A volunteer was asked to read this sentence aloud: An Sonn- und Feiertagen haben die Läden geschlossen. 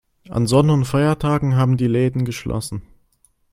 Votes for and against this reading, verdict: 2, 0, accepted